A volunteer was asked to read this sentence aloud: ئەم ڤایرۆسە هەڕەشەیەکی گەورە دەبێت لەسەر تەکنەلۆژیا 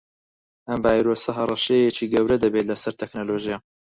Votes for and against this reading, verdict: 4, 2, accepted